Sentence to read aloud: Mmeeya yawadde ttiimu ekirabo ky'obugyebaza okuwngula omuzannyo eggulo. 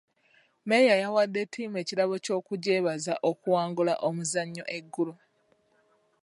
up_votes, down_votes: 2, 0